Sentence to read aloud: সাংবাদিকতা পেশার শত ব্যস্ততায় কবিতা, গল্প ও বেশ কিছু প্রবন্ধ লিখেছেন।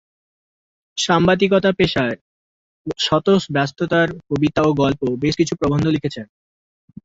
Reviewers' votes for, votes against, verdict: 0, 2, rejected